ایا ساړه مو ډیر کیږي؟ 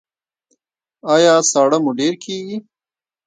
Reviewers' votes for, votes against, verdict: 1, 2, rejected